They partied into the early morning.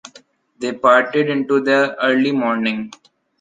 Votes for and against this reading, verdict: 2, 0, accepted